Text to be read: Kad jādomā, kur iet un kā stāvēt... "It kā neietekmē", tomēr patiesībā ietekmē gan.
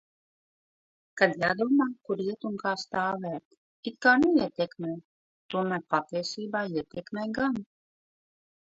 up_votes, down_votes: 2, 1